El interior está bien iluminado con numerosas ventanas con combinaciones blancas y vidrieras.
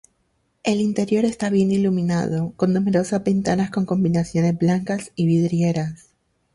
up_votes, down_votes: 2, 2